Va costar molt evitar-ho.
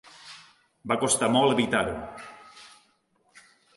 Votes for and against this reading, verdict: 3, 0, accepted